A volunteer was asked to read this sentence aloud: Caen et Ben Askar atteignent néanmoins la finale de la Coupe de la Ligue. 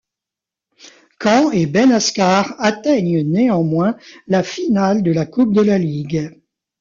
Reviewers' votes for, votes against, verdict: 2, 0, accepted